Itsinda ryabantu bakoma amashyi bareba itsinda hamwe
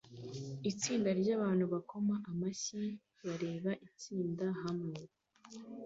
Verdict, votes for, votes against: accepted, 2, 1